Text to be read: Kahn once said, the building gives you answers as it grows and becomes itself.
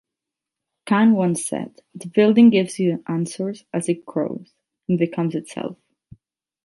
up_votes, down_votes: 8, 0